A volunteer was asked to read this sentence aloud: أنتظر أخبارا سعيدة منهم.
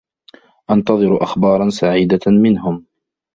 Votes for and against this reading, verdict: 1, 2, rejected